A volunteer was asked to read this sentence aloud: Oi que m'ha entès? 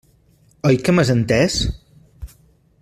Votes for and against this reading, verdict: 0, 2, rejected